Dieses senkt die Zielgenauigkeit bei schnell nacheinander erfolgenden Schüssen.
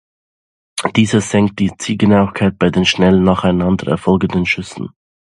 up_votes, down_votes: 0, 2